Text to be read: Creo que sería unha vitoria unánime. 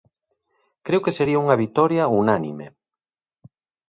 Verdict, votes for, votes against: accepted, 2, 0